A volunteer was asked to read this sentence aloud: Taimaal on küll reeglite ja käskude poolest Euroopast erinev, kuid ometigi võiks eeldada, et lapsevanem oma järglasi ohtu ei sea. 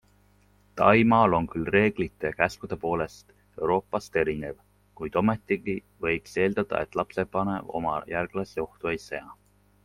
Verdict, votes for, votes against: accepted, 2, 0